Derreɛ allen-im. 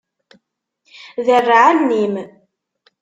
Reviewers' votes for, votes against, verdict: 2, 0, accepted